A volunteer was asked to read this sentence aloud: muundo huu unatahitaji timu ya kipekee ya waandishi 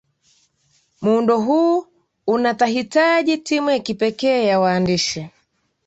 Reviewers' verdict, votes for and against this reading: accepted, 2, 0